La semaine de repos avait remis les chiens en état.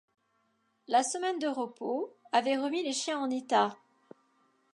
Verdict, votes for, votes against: accepted, 2, 0